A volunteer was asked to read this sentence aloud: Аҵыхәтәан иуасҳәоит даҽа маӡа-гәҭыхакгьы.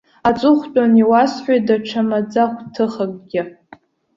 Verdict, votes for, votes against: rejected, 1, 2